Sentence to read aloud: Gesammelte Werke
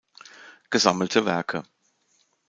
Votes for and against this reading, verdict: 2, 0, accepted